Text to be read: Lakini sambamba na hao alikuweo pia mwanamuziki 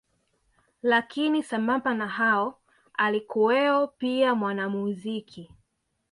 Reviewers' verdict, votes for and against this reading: rejected, 1, 2